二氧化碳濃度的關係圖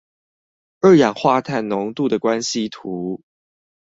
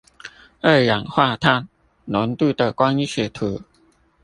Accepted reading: first